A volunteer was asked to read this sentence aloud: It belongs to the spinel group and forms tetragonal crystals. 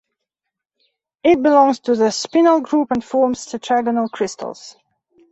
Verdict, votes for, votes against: accepted, 2, 0